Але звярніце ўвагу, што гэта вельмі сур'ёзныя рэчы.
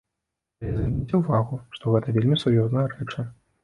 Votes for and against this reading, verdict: 0, 2, rejected